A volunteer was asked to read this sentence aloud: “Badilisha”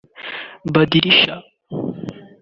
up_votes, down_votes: 3, 0